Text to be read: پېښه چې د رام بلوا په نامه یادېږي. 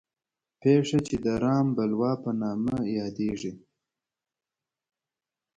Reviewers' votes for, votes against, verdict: 2, 0, accepted